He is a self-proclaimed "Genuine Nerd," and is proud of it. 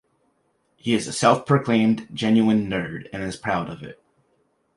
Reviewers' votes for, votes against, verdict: 2, 0, accepted